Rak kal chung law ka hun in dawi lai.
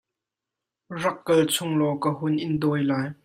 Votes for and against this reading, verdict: 2, 0, accepted